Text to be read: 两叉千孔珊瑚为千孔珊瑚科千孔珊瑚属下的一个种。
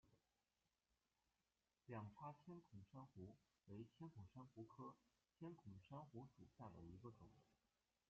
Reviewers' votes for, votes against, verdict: 0, 2, rejected